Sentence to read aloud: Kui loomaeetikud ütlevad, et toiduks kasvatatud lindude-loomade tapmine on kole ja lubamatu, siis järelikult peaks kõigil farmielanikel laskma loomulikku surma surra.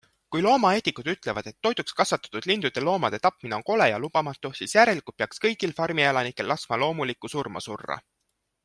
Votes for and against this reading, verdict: 2, 1, accepted